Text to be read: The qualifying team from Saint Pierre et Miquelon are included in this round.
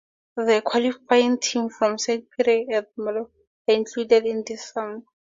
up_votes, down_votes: 0, 2